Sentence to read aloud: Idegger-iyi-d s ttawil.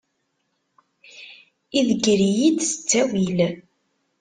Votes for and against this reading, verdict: 2, 0, accepted